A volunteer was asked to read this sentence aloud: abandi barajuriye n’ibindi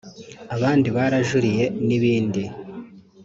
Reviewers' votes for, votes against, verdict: 1, 2, rejected